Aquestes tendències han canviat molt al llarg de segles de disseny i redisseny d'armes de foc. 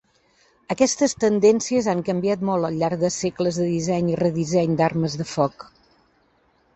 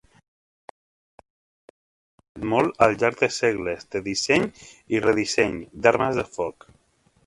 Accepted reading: first